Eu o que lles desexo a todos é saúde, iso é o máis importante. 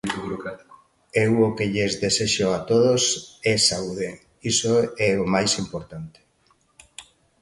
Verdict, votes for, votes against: accepted, 2, 1